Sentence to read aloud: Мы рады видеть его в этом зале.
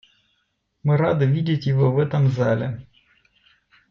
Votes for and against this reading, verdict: 2, 1, accepted